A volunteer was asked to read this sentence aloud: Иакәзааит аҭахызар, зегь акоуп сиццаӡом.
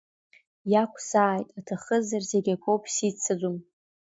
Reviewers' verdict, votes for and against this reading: accepted, 2, 0